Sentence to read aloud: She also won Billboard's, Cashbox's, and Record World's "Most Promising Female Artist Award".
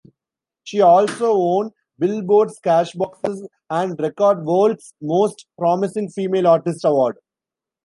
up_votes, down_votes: 2, 1